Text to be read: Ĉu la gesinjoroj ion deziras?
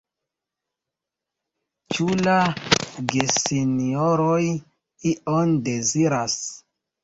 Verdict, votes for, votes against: accepted, 3, 2